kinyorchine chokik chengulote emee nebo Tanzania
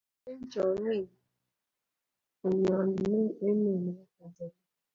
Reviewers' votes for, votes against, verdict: 1, 2, rejected